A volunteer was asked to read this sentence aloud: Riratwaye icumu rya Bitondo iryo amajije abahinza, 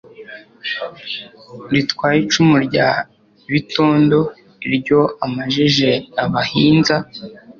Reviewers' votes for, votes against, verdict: 2, 0, accepted